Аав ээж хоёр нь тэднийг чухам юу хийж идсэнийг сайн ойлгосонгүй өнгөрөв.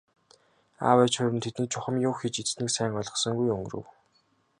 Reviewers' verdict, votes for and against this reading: accepted, 3, 0